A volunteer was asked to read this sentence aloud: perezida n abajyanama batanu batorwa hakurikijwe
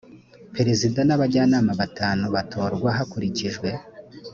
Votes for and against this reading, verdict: 2, 0, accepted